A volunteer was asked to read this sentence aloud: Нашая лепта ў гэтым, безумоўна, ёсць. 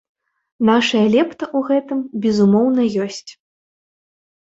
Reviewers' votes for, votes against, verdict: 1, 2, rejected